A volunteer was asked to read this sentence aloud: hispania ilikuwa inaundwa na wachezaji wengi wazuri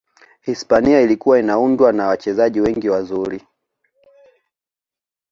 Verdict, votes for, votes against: accepted, 2, 0